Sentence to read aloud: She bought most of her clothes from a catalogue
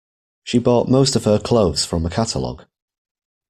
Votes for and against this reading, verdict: 2, 0, accepted